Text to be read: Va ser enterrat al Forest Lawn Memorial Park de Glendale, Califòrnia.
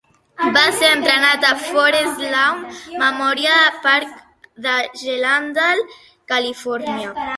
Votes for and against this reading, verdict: 0, 2, rejected